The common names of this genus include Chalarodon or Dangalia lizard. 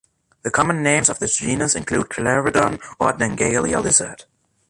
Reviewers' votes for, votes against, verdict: 1, 2, rejected